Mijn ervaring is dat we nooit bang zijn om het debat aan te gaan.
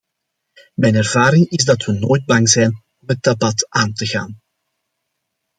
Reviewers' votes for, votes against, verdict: 2, 0, accepted